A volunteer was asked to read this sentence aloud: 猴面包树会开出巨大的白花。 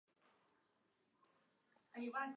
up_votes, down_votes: 0, 2